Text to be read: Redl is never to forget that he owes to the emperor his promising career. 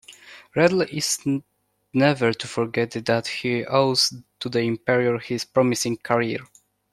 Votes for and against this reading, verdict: 1, 2, rejected